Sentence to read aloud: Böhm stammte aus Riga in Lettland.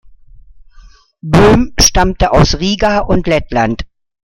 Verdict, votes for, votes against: rejected, 0, 2